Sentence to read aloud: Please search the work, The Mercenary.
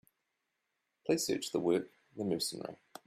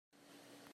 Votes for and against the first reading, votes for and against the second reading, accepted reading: 2, 0, 0, 2, first